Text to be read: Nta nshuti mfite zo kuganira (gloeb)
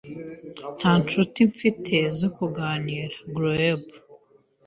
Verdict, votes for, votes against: accepted, 2, 0